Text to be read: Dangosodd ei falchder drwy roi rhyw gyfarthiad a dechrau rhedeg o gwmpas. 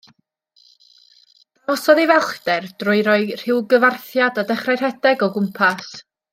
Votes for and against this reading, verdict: 0, 2, rejected